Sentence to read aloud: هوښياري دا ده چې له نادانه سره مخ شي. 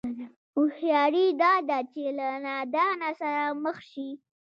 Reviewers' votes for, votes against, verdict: 2, 1, accepted